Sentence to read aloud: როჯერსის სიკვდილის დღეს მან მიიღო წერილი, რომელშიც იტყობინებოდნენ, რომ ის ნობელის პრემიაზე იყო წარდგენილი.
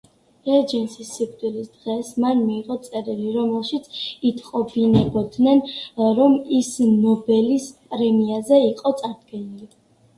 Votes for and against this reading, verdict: 2, 1, accepted